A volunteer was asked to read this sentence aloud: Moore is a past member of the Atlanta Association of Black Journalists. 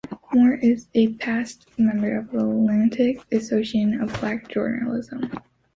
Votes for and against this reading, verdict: 1, 2, rejected